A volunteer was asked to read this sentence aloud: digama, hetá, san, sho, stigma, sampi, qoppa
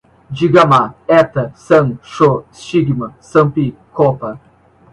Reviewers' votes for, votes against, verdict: 2, 0, accepted